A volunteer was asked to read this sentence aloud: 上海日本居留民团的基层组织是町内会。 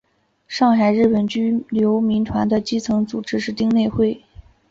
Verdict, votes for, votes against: accepted, 6, 0